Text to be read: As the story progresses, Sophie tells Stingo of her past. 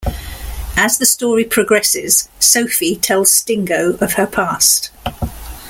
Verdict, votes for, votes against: accepted, 2, 0